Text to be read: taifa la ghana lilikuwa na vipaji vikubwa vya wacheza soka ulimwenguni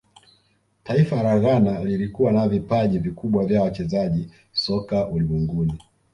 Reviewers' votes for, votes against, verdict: 1, 2, rejected